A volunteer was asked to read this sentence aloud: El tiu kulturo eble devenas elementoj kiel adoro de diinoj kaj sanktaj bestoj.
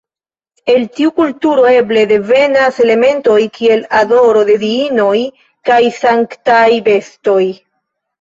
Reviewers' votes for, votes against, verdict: 1, 2, rejected